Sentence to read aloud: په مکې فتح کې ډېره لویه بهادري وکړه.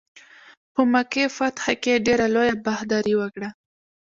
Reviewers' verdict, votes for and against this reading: accepted, 2, 1